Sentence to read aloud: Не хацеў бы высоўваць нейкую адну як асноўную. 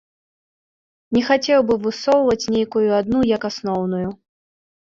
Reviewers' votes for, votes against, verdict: 2, 0, accepted